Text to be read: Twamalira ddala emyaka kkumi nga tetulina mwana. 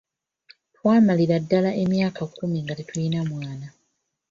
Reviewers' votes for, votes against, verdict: 1, 2, rejected